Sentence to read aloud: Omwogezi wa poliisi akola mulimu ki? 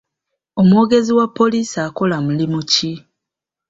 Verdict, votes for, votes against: accepted, 2, 0